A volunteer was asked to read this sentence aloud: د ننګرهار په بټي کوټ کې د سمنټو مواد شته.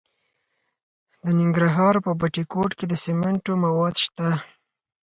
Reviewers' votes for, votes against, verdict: 4, 0, accepted